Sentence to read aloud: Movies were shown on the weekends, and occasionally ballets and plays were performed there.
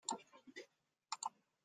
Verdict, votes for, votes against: rejected, 0, 2